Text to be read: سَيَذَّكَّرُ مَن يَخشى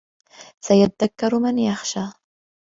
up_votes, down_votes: 2, 0